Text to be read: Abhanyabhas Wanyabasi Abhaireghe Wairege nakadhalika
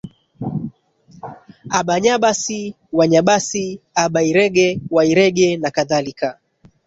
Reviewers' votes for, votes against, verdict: 1, 2, rejected